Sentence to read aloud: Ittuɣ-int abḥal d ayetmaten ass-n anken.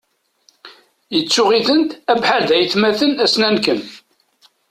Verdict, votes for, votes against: accepted, 2, 1